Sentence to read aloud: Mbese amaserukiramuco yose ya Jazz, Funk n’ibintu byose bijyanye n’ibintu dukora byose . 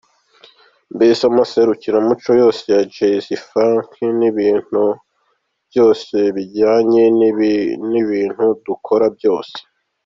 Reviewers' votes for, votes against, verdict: 1, 2, rejected